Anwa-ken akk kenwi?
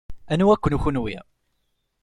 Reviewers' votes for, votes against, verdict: 1, 2, rejected